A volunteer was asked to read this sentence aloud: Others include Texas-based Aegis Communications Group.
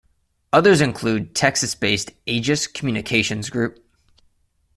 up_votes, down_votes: 2, 0